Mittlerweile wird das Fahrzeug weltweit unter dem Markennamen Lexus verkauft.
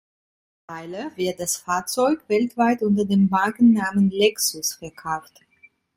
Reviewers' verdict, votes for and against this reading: rejected, 1, 2